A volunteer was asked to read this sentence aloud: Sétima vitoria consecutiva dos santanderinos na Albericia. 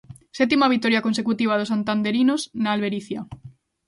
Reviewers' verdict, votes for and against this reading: accepted, 2, 0